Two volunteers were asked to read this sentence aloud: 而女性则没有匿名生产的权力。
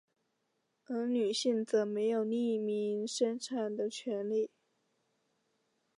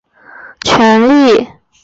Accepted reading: first